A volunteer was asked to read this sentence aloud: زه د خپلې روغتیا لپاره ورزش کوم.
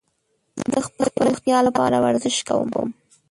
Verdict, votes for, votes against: rejected, 0, 2